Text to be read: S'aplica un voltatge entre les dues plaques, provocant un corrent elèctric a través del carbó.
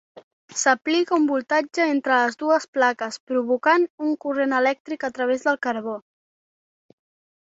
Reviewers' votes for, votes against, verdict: 2, 0, accepted